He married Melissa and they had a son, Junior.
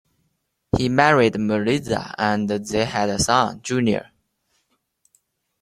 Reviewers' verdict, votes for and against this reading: accepted, 3, 1